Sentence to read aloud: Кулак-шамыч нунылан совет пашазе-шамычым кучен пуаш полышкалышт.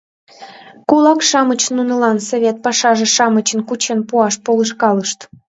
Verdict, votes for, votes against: accepted, 2, 0